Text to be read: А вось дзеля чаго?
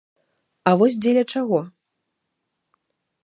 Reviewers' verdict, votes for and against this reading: accepted, 2, 0